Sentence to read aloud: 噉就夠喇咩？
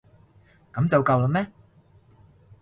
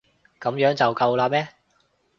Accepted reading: first